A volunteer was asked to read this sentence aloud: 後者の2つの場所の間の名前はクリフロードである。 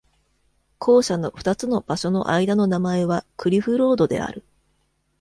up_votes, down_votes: 0, 2